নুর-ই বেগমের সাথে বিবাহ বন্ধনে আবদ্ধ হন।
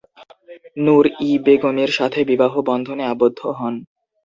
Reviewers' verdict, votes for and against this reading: accepted, 2, 0